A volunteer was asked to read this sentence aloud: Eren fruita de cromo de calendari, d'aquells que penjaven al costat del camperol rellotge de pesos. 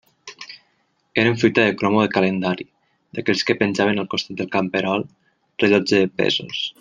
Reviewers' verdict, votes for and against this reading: accepted, 2, 0